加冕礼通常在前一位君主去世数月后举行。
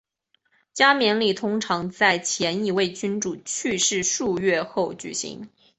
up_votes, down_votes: 4, 0